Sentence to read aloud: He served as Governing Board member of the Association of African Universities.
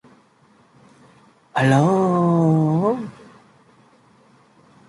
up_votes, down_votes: 0, 2